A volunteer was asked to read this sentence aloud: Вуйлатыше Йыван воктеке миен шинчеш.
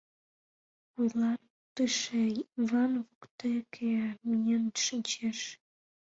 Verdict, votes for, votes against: accepted, 2, 1